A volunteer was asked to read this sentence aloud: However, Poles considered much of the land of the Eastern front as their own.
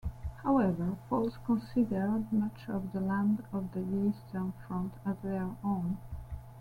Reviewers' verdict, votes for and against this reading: rejected, 1, 2